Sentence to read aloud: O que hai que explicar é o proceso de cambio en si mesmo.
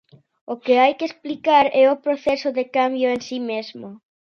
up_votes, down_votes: 2, 0